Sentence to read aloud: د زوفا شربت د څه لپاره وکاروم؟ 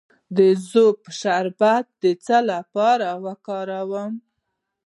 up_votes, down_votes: 1, 2